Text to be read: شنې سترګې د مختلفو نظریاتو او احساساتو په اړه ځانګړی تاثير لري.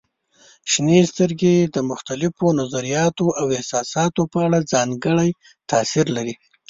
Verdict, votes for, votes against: accepted, 2, 0